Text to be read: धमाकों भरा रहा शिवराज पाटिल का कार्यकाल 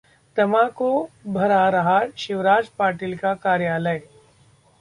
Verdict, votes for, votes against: rejected, 0, 2